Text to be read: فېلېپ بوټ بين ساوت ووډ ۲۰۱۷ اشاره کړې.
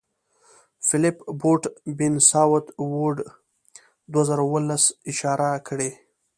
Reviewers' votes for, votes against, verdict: 0, 2, rejected